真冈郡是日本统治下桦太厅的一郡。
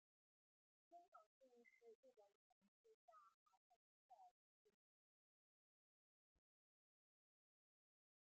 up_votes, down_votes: 1, 2